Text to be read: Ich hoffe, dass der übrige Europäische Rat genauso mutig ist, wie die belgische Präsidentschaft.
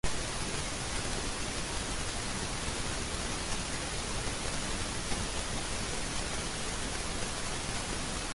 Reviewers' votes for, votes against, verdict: 0, 2, rejected